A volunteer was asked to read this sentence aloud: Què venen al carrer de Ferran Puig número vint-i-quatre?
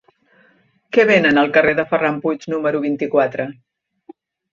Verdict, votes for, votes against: accepted, 3, 0